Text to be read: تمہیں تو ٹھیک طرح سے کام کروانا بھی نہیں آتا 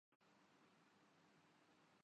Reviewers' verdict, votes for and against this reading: rejected, 2, 9